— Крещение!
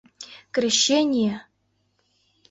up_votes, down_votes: 2, 0